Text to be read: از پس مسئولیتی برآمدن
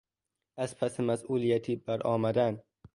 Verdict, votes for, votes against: accepted, 2, 0